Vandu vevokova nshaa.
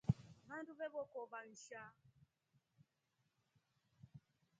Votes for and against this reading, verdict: 1, 2, rejected